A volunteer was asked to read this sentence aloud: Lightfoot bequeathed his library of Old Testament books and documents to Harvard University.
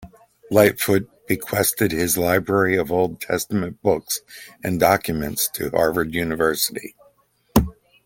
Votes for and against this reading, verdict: 0, 2, rejected